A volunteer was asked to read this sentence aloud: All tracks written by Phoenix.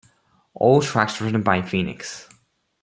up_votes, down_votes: 2, 1